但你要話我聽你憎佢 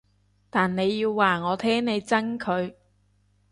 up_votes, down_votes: 2, 0